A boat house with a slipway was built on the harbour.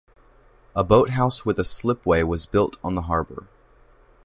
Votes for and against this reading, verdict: 2, 0, accepted